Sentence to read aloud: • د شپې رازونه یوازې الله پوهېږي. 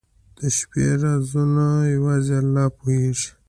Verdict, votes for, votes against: accepted, 2, 0